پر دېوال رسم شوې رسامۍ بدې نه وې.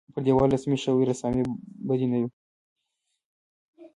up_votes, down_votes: 1, 2